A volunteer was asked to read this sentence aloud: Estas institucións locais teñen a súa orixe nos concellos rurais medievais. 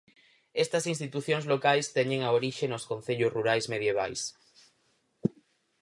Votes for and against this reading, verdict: 2, 4, rejected